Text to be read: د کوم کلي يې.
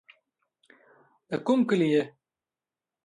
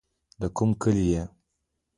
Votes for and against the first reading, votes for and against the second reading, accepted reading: 2, 1, 1, 2, first